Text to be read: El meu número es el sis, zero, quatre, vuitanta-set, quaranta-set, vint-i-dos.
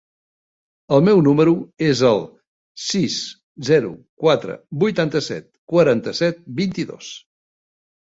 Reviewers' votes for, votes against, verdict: 3, 0, accepted